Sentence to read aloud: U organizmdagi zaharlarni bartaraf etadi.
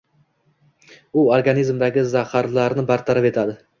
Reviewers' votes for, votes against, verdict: 1, 2, rejected